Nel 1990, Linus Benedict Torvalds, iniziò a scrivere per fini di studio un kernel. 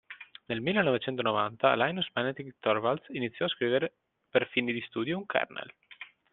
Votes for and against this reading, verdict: 0, 2, rejected